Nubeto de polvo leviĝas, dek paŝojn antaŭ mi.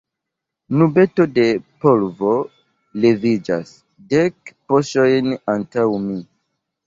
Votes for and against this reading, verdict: 0, 2, rejected